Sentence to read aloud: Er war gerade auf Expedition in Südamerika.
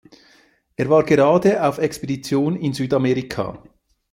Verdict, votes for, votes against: accepted, 2, 0